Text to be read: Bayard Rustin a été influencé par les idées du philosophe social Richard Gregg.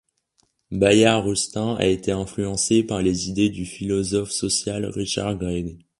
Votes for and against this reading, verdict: 2, 0, accepted